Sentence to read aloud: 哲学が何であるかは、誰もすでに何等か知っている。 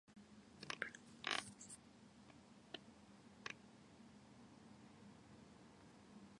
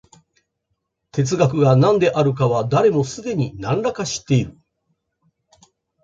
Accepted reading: second